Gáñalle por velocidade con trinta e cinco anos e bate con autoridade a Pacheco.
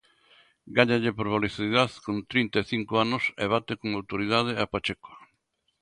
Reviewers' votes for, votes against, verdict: 0, 2, rejected